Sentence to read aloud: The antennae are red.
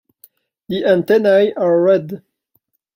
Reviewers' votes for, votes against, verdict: 0, 2, rejected